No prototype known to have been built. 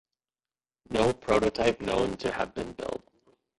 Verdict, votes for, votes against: rejected, 1, 2